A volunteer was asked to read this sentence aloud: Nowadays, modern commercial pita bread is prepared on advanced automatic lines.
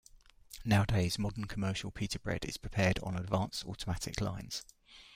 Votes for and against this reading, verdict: 2, 1, accepted